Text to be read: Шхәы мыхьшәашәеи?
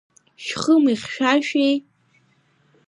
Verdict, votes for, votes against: accepted, 2, 0